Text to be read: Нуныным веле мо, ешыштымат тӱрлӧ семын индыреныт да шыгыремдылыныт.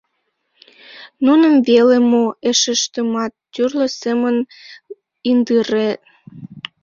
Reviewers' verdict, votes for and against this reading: rejected, 0, 2